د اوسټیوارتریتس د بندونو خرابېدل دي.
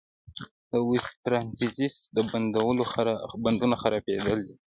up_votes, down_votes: 2, 0